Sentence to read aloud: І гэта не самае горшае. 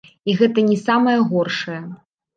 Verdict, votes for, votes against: rejected, 1, 2